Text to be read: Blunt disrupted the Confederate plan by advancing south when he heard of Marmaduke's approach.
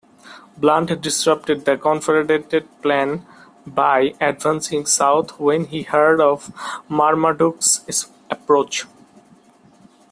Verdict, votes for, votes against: rejected, 0, 2